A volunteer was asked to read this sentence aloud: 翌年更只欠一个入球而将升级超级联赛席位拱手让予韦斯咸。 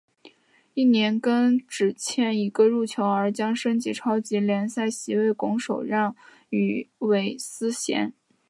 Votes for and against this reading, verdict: 3, 1, accepted